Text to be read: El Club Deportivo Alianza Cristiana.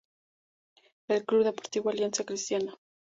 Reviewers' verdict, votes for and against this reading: accepted, 2, 0